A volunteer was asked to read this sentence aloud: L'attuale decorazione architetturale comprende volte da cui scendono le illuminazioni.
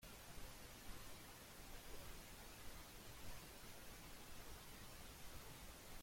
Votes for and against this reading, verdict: 0, 2, rejected